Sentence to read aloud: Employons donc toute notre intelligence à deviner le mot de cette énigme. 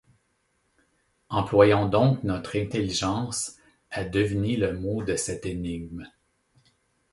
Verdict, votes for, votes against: rejected, 1, 2